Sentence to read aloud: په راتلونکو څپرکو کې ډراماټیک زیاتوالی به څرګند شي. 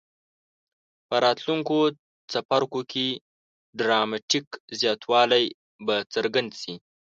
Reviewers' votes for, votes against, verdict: 2, 0, accepted